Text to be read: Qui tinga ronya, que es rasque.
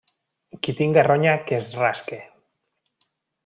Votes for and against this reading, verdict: 2, 0, accepted